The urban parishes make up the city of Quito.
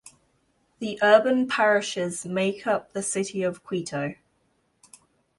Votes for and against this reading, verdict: 2, 0, accepted